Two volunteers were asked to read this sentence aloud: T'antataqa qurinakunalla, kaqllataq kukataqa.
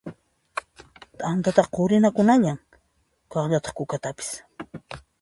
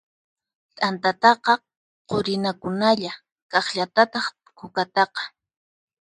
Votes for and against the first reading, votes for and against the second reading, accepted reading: 2, 0, 2, 4, first